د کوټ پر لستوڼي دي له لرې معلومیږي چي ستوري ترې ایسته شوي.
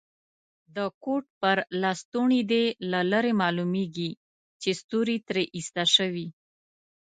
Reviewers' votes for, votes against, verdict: 3, 0, accepted